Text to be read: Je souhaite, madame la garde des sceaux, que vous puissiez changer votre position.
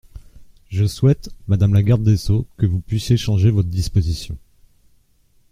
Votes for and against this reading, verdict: 0, 2, rejected